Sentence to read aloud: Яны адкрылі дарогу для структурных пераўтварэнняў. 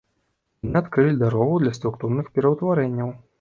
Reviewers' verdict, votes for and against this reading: rejected, 0, 2